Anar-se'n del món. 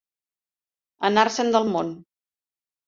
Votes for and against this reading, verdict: 2, 0, accepted